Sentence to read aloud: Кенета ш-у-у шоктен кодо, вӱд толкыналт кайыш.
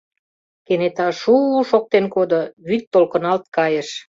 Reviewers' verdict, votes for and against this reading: accepted, 2, 0